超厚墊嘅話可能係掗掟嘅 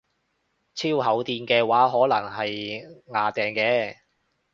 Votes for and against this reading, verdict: 2, 0, accepted